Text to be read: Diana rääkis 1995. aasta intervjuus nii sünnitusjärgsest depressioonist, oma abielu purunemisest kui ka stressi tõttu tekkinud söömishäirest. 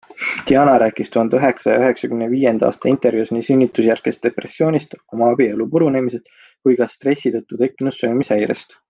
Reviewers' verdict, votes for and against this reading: rejected, 0, 2